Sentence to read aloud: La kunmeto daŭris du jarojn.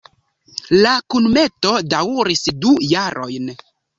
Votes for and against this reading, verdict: 2, 0, accepted